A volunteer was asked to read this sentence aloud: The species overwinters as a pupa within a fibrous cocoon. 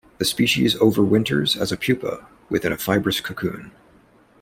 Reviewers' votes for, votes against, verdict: 2, 0, accepted